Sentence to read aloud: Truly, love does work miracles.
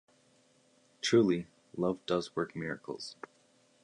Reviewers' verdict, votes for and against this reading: accepted, 2, 0